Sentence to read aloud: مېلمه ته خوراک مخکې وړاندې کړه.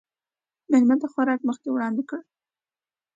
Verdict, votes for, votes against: accepted, 2, 0